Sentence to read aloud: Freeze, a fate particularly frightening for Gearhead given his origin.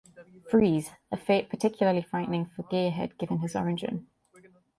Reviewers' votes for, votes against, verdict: 3, 0, accepted